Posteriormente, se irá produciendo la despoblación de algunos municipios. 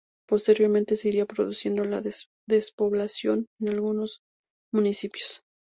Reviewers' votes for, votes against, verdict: 0, 2, rejected